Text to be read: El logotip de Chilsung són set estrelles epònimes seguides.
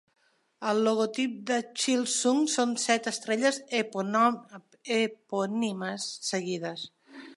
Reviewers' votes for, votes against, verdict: 0, 2, rejected